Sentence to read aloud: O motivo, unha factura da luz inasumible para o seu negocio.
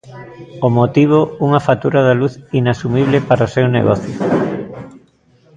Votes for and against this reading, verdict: 2, 0, accepted